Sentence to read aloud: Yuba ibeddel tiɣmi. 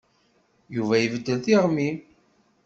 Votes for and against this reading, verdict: 2, 0, accepted